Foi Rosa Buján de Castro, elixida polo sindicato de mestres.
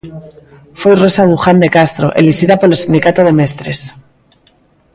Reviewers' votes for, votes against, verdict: 2, 0, accepted